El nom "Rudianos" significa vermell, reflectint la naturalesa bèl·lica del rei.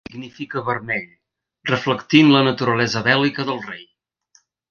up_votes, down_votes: 1, 2